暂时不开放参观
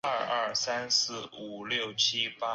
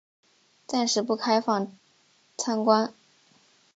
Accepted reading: second